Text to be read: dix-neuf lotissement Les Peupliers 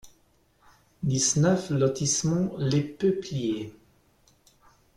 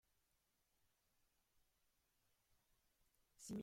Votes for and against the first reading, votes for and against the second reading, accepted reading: 2, 1, 0, 2, first